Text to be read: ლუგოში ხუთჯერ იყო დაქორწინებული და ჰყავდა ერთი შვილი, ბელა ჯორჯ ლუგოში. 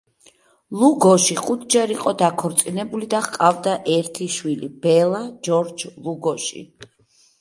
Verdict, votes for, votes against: accepted, 2, 0